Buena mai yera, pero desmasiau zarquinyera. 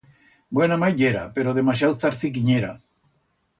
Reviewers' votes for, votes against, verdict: 1, 2, rejected